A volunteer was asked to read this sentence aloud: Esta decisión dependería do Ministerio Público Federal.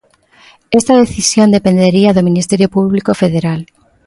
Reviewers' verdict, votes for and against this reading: accepted, 2, 0